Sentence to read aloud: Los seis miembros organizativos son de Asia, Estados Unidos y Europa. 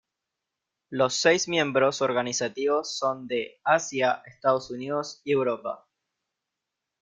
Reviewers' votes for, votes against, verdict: 2, 0, accepted